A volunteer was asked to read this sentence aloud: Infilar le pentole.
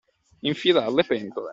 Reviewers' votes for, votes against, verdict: 2, 0, accepted